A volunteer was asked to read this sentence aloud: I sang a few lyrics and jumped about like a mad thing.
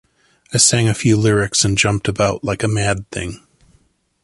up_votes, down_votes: 2, 0